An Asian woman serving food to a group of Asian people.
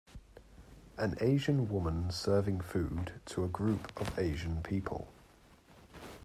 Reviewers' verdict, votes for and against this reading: accepted, 3, 0